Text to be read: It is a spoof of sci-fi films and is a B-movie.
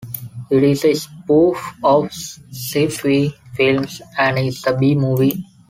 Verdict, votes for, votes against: rejected, 0, 2